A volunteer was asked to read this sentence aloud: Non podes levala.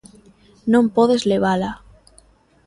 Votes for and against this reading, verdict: 2, 0, accepted